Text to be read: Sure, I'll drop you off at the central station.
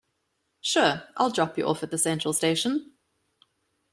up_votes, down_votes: 2, 0